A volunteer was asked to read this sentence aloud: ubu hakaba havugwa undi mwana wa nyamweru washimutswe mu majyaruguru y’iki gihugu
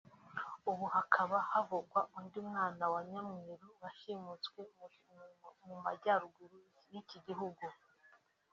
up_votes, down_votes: 3, 0